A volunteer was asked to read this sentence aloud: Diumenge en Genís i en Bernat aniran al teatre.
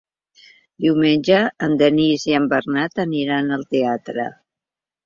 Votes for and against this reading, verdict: 0, 2, rejected